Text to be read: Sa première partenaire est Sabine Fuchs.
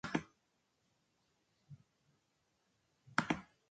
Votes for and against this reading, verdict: 0, 2, rejected